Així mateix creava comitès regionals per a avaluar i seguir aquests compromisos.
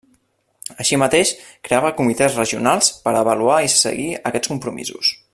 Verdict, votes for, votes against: accepted, 2, 0